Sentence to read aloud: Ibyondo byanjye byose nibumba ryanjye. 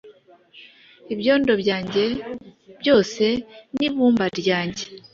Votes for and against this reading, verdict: 2, 0, accepted